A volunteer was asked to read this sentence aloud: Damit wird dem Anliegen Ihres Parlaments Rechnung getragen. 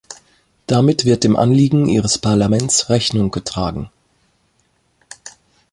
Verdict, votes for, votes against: accepted, 2, 0